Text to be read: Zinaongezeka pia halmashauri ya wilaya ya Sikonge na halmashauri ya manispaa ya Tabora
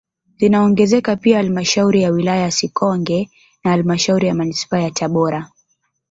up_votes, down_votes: 1, 2